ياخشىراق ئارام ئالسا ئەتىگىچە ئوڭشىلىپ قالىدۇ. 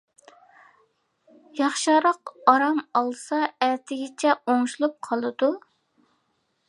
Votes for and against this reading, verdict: 2, 0, accepted